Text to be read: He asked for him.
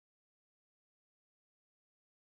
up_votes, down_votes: 0, 3